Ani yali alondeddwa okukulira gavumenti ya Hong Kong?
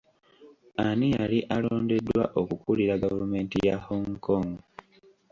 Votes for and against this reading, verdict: 0, 2, rejected